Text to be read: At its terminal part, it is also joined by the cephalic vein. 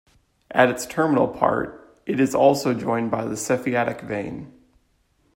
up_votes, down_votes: 1, 2